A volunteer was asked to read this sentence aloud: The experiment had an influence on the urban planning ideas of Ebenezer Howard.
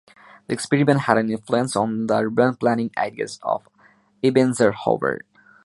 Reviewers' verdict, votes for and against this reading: rejected, 0, 2